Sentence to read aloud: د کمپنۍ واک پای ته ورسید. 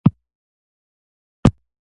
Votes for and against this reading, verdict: 1, 2, rejected